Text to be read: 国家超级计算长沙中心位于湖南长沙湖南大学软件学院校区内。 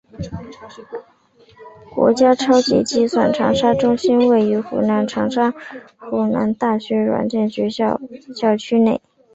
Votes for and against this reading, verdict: 2, 0, accepted